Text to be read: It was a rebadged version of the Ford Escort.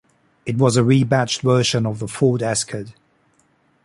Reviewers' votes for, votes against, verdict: 0, 2, rejected